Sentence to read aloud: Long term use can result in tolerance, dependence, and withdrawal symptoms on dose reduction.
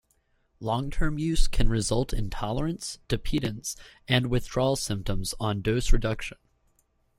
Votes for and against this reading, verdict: 1, 2, rejected